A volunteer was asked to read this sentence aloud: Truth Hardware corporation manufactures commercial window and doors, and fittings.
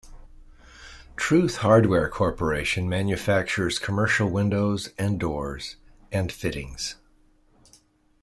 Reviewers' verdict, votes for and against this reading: accepted, 2, 0